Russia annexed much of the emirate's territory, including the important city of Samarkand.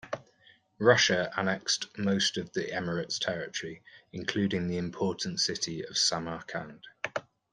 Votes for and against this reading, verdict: 1, 2, rejected